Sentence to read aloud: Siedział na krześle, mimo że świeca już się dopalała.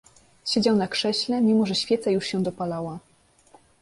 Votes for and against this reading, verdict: 2, 0, accepted